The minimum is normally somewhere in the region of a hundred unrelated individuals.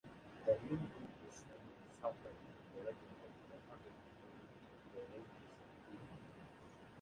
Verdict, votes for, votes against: rejected, 1, 2